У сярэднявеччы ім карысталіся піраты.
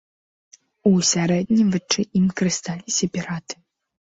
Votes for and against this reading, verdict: 1, 2, rejected